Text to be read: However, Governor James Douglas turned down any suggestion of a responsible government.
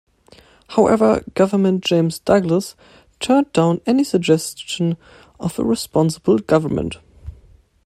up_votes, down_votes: 1, 2